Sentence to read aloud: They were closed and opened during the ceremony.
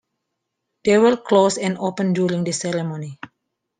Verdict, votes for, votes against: accepted, 2, 1